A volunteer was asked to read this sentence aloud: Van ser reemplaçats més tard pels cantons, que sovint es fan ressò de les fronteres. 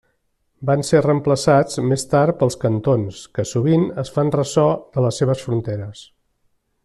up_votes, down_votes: 0, 2